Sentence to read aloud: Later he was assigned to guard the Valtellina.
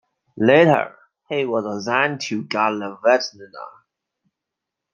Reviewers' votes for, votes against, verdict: 1, 2, rejected